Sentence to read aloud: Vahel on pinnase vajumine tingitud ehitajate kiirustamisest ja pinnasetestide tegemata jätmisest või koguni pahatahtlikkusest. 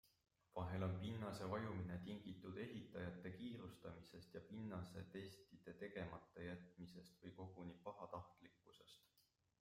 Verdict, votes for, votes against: accepted, 2, 1